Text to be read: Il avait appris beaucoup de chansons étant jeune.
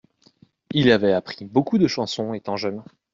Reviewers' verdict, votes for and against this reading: accepted, 2, 0